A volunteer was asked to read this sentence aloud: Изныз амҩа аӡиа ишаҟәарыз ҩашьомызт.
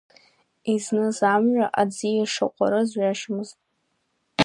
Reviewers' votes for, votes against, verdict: 1, 2, rejected